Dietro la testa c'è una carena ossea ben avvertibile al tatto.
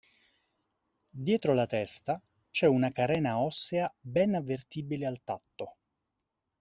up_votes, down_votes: 2, 0